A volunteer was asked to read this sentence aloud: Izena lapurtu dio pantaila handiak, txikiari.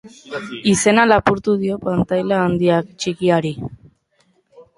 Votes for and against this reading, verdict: 0, 2, rejected